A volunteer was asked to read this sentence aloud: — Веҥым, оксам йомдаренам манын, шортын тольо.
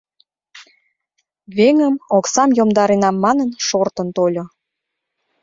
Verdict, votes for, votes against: accepted, 2, 0